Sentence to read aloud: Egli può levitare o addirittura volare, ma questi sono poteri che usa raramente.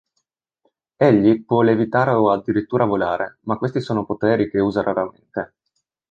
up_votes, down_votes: 1, 2